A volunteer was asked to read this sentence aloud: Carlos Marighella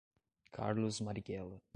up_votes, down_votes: 2, 1